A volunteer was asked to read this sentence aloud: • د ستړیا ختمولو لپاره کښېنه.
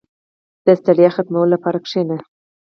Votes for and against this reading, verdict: 4, 0, accepted